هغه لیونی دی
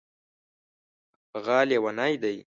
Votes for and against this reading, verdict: 2, 0, accepted